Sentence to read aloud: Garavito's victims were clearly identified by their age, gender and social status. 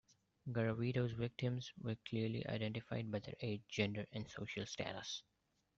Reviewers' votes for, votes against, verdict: 2, 0, accepted